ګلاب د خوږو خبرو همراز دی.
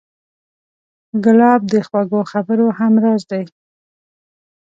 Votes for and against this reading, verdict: 2, 0, accepted